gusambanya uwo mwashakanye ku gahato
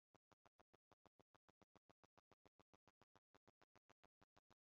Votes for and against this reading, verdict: 1, 2, rejected